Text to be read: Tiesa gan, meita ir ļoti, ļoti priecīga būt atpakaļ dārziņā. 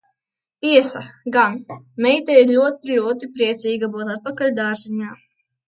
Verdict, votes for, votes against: rejected, 1, 2